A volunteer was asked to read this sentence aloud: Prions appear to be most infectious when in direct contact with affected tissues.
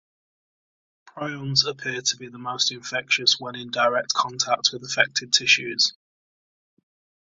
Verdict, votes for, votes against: accepted, 2, 0